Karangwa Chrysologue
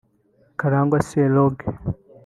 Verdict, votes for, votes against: rejected, 1, 2